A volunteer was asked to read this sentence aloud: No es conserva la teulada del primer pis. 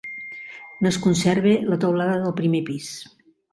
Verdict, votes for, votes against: rejected, 1, 2